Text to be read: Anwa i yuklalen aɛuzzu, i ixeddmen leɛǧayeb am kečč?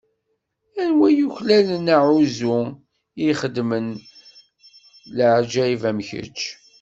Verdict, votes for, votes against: rejected, 1, 2